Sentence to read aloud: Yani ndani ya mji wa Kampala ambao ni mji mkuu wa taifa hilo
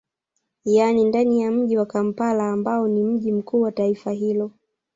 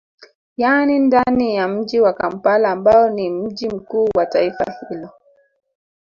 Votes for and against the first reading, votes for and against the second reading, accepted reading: 1, 2, 2, 0, second